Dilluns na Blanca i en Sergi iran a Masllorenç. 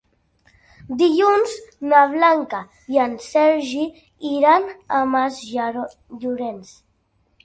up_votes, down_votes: 1, 2